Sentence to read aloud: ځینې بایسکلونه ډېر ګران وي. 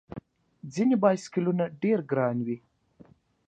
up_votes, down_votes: 3, 0